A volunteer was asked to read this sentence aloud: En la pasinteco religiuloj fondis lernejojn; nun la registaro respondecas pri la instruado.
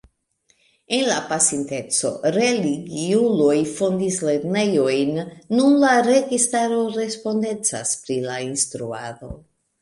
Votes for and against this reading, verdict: 2, 0, accepted